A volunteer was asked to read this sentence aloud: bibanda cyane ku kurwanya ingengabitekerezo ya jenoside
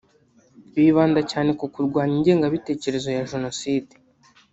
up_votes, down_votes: 0, 2